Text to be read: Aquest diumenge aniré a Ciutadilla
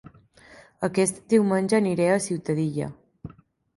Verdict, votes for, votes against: accepted, 2, 0